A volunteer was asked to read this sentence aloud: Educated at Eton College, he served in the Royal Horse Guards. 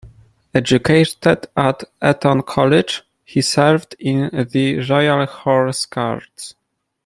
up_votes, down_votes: 1, 2